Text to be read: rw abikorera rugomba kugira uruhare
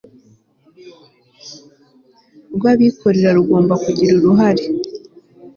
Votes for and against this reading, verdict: 3, 0, accepted